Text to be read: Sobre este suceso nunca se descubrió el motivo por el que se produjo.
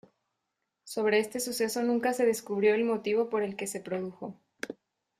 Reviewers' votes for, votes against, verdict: 2, 0, accepted